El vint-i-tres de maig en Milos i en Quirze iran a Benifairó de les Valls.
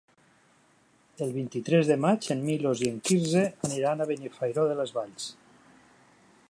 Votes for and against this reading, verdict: 0, 2, rejected